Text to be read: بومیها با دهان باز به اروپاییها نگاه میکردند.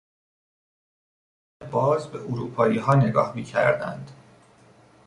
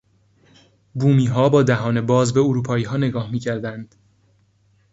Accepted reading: second